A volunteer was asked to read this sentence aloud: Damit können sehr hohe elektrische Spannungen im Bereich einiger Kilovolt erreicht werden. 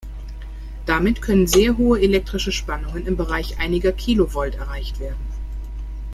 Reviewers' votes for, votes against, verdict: 2, 0, accepted